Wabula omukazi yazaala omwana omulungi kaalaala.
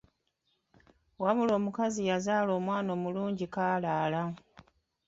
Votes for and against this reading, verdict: 1, 2, rejected